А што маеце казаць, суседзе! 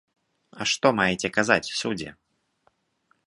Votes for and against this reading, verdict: 0, 2, rejected